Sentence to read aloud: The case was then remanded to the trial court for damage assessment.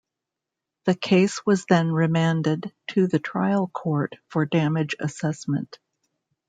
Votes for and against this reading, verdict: 3, 0, accepted